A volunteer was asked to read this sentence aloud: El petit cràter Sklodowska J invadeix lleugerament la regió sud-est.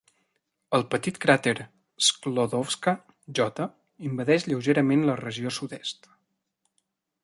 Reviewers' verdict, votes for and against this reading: accepted, 3, 0